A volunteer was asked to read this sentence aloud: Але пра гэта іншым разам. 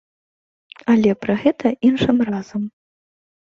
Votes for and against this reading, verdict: 2, 0, accepted